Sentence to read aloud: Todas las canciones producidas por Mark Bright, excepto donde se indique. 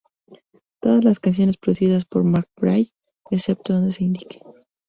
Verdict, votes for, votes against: rejected, 2, 2